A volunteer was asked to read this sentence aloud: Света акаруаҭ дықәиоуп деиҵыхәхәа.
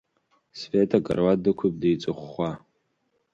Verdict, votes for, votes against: accepted, 2, 0